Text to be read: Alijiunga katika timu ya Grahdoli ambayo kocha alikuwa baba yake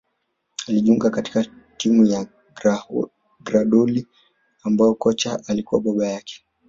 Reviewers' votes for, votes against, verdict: 1, 2, rejected